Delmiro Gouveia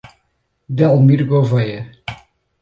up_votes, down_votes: 2, 2